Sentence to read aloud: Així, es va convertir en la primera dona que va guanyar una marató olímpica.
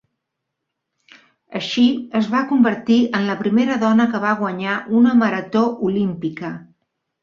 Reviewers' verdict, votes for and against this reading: accepted, 3, 0